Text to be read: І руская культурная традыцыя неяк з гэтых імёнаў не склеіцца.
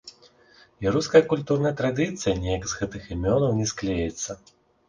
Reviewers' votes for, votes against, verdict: 0, 4, rejected